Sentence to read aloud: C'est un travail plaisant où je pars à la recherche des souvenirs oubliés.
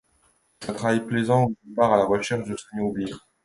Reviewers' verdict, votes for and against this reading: rejected, 1, 2